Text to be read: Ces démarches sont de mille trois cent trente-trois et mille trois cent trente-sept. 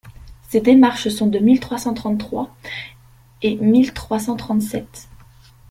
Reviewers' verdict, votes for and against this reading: accepted, 2, 1